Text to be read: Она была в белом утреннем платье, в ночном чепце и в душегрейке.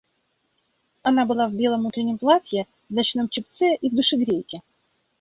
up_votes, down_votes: 2, 0